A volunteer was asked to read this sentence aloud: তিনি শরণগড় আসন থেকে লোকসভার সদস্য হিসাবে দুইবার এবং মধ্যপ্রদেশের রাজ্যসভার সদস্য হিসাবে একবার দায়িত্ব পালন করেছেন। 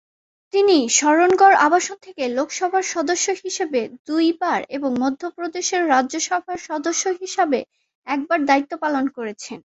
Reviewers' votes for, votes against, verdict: 10, 2, accepted